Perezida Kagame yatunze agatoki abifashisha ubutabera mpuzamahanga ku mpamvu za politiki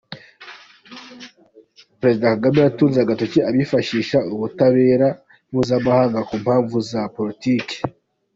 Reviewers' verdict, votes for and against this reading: accepted, 2, 1